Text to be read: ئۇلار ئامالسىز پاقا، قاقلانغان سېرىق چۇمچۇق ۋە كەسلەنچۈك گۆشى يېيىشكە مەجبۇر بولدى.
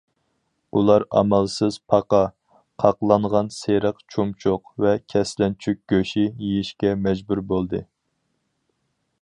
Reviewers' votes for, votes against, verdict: 4, 0, accepted